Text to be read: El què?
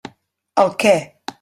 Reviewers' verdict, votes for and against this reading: accepted, 3, 0